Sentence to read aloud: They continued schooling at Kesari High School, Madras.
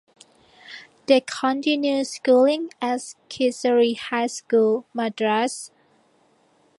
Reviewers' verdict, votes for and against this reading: accepted, 2, 1